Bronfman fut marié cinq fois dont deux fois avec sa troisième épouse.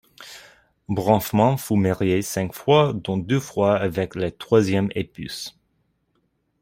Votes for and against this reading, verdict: 1, 2, rejected